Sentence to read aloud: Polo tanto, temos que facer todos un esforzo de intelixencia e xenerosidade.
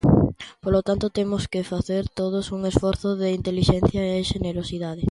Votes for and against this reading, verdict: 2, 0, accepted